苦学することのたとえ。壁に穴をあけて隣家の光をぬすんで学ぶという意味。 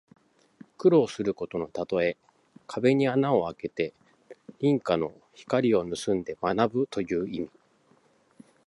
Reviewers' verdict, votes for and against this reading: accepted, 2, 1